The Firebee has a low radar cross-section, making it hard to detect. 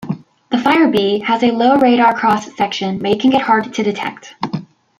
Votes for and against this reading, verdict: 1, 2, rejected